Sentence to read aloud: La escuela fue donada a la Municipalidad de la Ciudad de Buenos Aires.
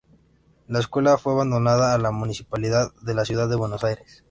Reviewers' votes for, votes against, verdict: 0, 2, rejected